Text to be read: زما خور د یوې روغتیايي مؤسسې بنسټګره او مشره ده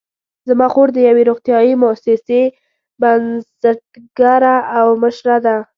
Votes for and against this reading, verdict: 2, 0, accepted